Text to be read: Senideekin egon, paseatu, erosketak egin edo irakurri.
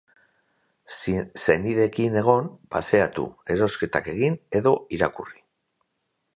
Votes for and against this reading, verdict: 4, 2, accepted